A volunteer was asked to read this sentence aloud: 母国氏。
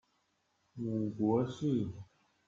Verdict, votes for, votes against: accepted, 2, 0